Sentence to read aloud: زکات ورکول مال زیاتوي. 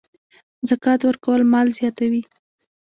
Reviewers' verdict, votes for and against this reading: rejected, 0, 2